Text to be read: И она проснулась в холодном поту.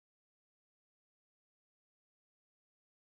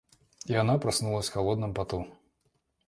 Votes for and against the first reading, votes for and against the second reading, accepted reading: 0, 14, 2, 0, second